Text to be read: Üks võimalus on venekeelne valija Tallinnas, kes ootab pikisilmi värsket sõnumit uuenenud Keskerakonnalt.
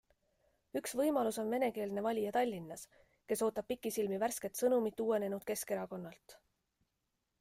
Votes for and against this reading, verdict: 2, 0, accepted